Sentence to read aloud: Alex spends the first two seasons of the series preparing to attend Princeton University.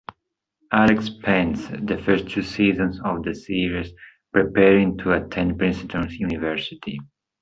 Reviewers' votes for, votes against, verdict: 2, 0, accepted